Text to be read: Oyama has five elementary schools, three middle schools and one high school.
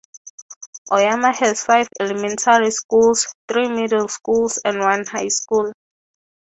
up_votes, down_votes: 6, 0